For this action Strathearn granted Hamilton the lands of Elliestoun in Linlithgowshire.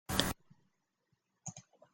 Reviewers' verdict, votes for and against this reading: rejected, 0, 2